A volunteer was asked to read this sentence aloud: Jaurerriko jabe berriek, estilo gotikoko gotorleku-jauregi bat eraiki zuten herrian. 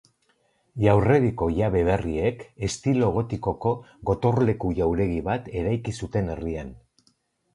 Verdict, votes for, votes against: rejected, 2, 2